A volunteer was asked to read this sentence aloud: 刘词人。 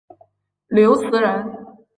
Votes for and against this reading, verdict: 2, 0, accepted